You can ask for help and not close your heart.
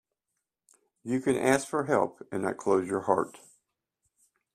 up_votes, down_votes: 2, 0